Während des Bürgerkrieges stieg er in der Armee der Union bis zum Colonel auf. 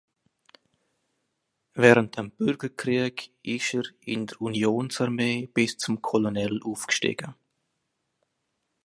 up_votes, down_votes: 1, 2